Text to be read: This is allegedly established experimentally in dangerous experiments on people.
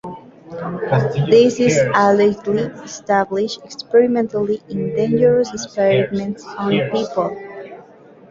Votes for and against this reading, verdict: 1, 2, rejected